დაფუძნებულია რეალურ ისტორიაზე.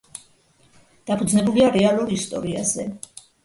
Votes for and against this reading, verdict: 0, 2, rejected